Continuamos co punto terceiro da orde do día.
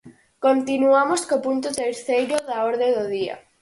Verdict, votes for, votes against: accepted, 6, 0